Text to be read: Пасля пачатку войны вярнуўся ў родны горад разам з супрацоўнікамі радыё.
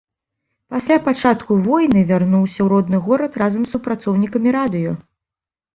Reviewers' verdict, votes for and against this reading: accepted, 2, 1